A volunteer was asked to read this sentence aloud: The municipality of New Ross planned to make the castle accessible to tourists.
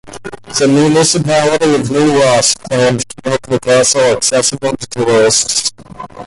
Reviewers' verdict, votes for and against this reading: accepted, 2, 1